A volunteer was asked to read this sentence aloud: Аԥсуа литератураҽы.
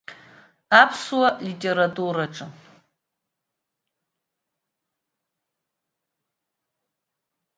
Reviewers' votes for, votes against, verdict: 2, 1, accepted